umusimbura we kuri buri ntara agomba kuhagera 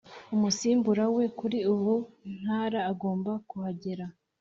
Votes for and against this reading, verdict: 2, 0, accepted